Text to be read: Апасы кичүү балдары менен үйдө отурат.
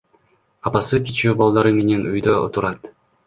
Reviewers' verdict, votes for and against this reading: accepted, 2, 1